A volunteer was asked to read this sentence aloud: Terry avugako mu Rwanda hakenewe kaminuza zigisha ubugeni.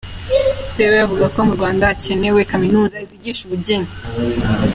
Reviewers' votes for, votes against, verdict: 1, 2, rejected